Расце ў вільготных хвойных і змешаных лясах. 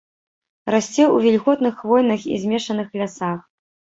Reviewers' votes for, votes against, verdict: 2, 0, accepted